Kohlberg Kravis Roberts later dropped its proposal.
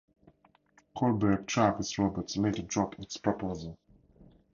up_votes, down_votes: 4, 0